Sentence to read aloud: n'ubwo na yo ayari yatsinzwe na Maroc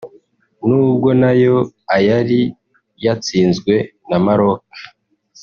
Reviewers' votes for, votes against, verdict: 0, 2, rejected